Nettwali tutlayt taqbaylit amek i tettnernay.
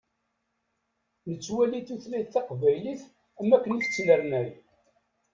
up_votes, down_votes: 0, 2